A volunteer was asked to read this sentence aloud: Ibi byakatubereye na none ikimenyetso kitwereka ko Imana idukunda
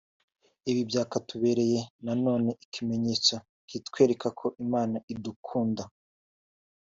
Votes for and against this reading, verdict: 2, 0, accepted